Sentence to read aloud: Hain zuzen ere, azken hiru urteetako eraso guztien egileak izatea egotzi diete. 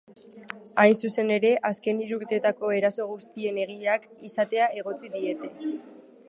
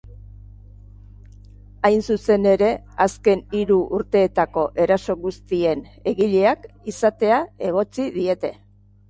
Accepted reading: second